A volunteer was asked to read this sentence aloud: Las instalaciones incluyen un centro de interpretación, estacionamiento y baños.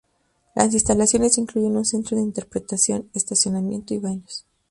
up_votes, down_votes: 2, 0